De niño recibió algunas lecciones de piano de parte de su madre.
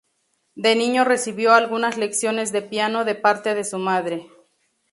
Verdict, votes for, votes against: accepted, 2, 0